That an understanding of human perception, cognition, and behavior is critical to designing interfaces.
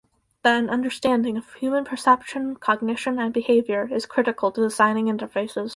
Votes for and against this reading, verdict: 0, 4, rejected